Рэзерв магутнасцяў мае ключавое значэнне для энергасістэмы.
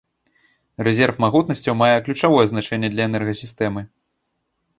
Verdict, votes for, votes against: accepted, 2, 0